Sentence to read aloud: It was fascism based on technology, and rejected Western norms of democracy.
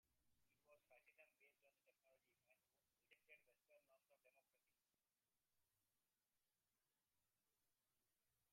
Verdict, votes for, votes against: rejected, 0, 2